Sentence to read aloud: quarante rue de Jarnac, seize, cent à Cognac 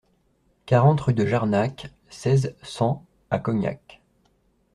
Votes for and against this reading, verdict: 2, 0, accepted